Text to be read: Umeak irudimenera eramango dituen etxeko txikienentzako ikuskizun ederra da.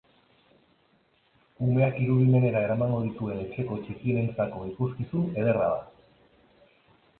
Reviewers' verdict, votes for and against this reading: accepted, 3, 0